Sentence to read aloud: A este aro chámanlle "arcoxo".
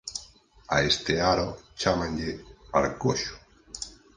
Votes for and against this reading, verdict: 4, 0, accepted